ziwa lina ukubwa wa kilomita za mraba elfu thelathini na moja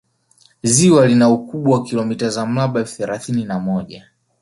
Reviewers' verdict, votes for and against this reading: accepted, 2, 0